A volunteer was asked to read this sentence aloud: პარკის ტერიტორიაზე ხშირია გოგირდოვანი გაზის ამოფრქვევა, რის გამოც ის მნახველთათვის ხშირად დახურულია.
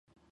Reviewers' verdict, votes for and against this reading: rejected, 1, 2